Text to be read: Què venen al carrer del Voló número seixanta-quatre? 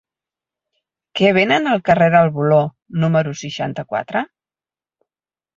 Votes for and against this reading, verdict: 10, 0, accepted